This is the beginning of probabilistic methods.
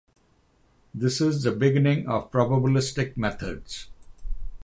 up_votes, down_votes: 6, 0